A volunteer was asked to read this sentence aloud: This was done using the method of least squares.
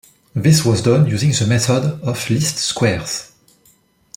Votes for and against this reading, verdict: 1, 2, rejected